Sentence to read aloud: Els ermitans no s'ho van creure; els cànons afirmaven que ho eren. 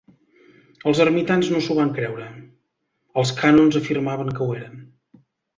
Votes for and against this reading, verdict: 2, 0, accepted